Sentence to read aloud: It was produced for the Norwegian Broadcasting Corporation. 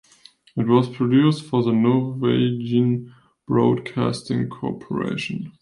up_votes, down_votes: 2, 0